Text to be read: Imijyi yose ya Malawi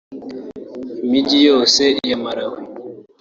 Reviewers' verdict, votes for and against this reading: accepted, 2, 1